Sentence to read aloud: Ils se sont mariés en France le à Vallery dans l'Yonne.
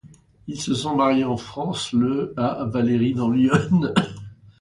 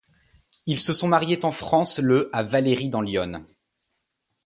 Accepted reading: second